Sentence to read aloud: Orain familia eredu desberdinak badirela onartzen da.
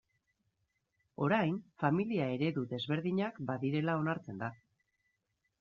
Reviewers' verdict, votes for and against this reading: accepted, 2, 0